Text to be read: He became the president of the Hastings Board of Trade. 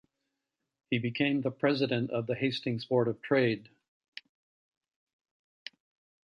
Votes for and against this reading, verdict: 2, 1, accepted